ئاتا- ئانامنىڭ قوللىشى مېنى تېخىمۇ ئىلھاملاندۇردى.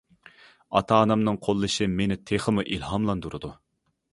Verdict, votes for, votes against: rejected, 0, 2